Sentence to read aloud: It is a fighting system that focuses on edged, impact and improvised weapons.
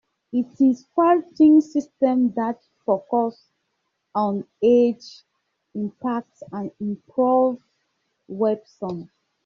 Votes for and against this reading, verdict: 0, 2, rejected